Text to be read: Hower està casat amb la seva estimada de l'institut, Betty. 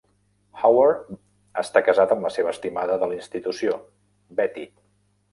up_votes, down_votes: 0, 2